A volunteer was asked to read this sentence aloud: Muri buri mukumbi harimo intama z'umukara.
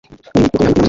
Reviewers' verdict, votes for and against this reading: rejected, 1, 2